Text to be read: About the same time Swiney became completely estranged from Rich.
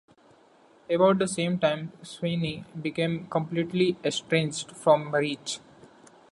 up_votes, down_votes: 2, 0